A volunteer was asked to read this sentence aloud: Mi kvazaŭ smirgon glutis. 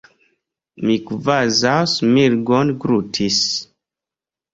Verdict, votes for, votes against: accepted, 2, 0